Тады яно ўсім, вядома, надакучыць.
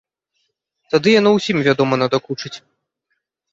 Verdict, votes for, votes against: accepted, 2, 0